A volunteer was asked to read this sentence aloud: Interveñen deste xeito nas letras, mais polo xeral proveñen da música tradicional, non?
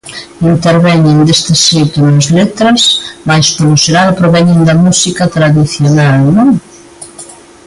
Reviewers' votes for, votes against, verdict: 2, 0, accepted